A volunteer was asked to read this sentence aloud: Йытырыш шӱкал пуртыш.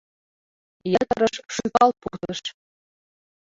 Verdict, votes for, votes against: rejected, 0, 2